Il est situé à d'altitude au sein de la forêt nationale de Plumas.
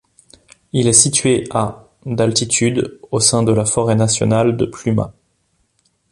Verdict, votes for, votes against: accepted, 2, 0